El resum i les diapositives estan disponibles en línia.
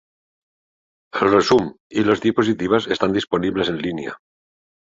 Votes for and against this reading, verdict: 2, 0, accepted